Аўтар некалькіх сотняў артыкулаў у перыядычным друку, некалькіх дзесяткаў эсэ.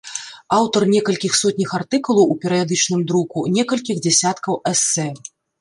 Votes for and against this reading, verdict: 0, 2, rejected